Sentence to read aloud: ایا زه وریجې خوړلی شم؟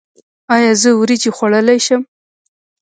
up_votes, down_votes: 0, 2